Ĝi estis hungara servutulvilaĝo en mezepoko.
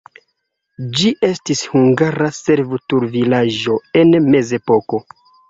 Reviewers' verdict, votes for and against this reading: accepted, 2, 0